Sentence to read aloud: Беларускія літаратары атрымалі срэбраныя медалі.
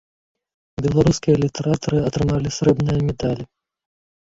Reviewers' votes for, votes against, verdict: 1, 2, rejected